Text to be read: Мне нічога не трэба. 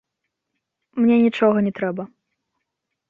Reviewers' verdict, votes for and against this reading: rejected, 0, 2